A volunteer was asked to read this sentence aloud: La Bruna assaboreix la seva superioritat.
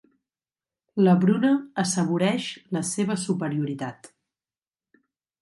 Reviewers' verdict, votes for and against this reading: accepted, 2, 0